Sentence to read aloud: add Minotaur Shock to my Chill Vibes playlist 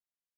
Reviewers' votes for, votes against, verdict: 0, 3, rejected